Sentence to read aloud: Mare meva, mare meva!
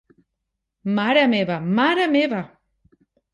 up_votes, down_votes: 3, 0